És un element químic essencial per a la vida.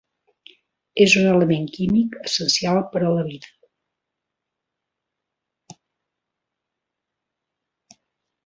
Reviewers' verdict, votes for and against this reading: accepted, 3, 0